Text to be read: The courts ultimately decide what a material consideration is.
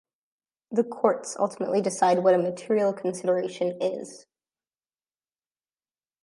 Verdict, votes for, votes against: accepted, 2, 0